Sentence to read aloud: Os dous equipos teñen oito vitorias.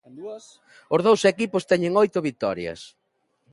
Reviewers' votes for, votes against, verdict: 0, 2, rejected